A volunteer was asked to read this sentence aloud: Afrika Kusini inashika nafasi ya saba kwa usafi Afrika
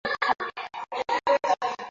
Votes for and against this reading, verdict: 0, 2, rejected